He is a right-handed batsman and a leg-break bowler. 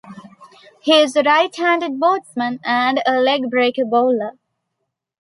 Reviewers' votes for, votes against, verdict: 0, 3, rejected